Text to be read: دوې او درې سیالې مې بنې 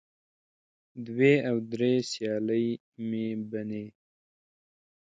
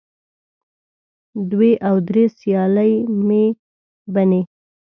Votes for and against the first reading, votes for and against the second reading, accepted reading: 2, 0, 1, 2, first